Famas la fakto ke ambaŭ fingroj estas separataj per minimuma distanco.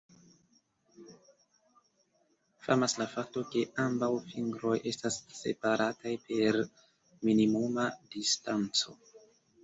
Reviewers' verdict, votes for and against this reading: rejected, 0, 2